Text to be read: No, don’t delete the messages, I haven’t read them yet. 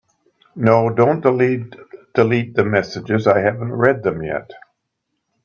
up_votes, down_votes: 0, 2